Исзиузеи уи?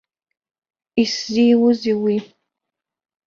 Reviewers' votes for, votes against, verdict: 0, 2, rejected